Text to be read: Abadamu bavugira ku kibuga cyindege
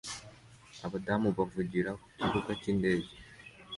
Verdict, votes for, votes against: accepted, 2, 0